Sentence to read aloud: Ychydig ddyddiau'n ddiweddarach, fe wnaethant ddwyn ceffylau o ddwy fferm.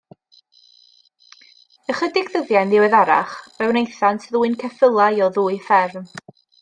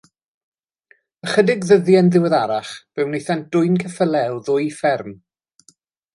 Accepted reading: first